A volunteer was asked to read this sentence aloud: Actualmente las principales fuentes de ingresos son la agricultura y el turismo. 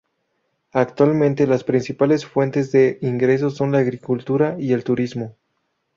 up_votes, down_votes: 2, 2